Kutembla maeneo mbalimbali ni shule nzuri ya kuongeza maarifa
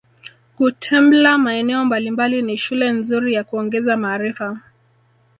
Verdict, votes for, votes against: accepted, 2, 0